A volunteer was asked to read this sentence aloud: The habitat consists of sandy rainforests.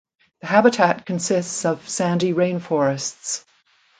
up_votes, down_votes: 2, 0